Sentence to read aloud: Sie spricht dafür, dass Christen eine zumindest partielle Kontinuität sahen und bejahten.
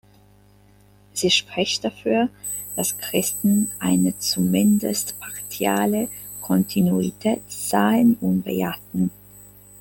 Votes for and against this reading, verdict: 0, 2, rejected